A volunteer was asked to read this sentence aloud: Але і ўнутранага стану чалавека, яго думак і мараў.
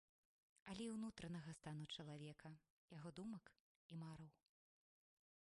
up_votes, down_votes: 0, 2